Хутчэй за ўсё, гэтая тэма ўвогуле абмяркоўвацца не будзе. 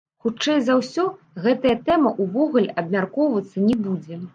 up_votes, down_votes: 0, 2